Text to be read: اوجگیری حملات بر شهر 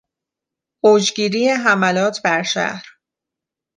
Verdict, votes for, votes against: accepted, 2, 0